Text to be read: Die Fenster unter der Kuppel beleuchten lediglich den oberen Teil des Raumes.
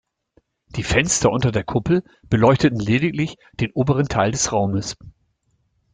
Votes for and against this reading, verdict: 1, 2, rejected